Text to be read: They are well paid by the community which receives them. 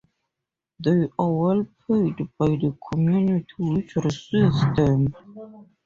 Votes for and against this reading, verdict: 0, 2, rejected